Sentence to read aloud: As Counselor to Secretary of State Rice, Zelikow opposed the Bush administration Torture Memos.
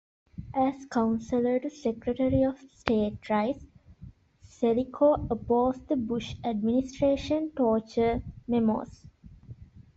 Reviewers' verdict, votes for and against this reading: rejected, 0, 2